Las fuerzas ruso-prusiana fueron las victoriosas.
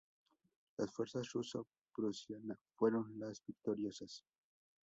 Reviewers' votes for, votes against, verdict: 0, 2, rejected